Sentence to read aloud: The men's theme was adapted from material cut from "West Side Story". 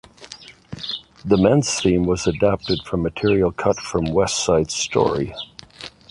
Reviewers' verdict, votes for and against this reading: accepted, 2, 0